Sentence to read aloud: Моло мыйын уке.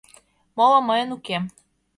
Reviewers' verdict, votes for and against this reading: accepted, 2, 0